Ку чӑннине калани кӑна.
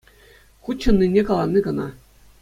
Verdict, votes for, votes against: accepted, 2, 0